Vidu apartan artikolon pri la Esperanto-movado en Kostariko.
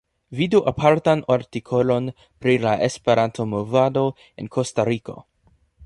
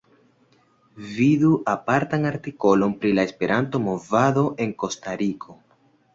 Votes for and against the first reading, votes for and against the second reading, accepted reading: 0, 2, 2, 0, second